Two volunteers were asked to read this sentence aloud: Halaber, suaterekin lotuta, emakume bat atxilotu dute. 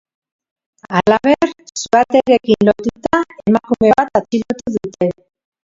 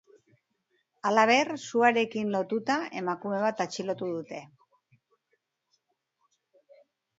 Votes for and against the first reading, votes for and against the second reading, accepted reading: 0, 2, 2, 1, second